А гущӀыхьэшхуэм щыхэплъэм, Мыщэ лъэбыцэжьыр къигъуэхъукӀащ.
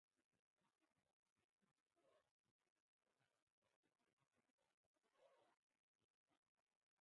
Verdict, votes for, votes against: rejected, 2, 4